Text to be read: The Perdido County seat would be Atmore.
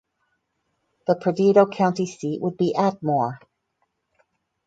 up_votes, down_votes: 4, 0